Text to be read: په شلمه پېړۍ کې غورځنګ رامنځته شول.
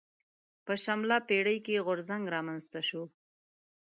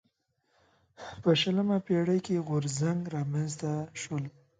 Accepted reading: second